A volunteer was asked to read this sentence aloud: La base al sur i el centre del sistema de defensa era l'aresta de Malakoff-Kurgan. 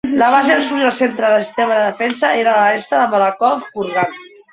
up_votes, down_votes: 0, 2